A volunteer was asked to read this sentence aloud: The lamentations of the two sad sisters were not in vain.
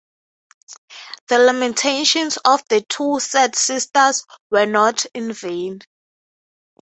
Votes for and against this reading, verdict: 3, 0, accepted